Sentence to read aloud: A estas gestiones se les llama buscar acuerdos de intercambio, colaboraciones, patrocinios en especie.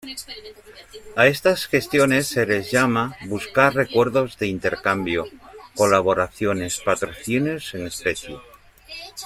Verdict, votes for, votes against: rejected, 0, 2